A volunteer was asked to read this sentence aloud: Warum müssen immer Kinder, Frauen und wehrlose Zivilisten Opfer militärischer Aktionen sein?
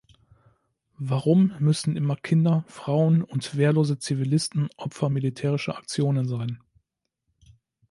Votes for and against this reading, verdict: 3, 0, accepted